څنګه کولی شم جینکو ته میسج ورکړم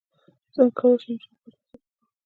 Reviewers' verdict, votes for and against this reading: rejected, 0, 2